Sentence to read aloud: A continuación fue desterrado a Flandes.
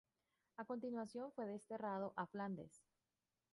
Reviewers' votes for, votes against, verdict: 0, 2, rejected